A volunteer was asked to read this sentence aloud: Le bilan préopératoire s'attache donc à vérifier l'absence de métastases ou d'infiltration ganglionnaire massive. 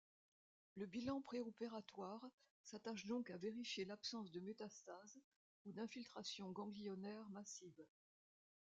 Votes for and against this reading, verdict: 1, 2, rejected